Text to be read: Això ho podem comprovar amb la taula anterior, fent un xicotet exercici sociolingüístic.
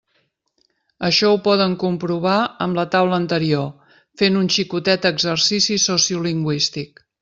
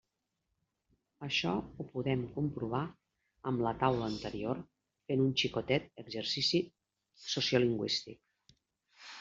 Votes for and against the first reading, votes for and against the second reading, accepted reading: 0, 2, 4, 0, second